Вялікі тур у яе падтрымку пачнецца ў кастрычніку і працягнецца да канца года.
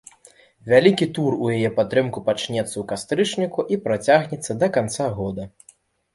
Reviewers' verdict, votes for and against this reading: accepted, 2, 0